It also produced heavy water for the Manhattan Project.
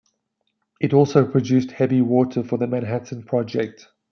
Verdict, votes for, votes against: accepted, 2, 0